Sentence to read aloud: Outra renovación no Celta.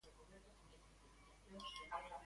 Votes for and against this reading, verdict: 0, 3, rejected